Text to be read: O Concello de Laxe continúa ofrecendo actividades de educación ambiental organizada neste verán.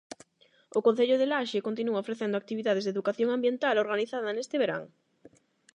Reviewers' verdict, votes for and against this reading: accepted, 8, 0